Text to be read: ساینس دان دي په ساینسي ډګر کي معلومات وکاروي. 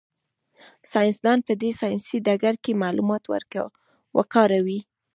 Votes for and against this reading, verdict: 1, 2, rejected